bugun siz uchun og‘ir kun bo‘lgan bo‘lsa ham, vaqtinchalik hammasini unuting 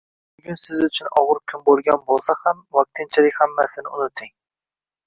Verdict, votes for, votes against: rejected, 1, 2